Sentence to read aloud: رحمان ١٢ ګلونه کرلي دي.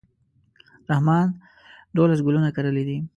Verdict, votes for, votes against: rejected, 0, 2